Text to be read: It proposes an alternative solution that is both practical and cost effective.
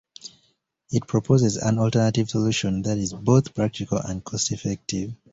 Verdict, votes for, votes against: accepted, 2, 0